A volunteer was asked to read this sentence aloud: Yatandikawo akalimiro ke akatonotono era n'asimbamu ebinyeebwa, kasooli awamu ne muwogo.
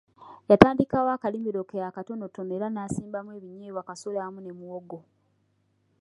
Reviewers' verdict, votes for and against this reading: accepted, 2, 1